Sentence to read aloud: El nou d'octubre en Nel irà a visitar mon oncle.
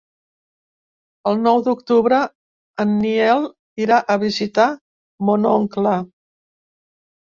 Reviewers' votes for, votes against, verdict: 0, 2, rejected